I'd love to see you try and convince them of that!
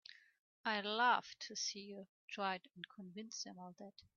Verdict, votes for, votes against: accepted, 3, 0